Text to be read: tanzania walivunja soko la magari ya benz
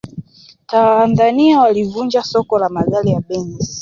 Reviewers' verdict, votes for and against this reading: accepted, 2, 0